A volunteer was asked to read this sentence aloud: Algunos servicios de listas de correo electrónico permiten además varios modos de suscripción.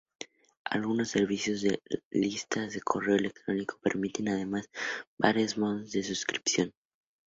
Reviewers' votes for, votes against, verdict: 2, 0, accepted